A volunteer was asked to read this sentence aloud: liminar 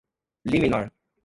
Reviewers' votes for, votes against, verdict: 1, 2, rejected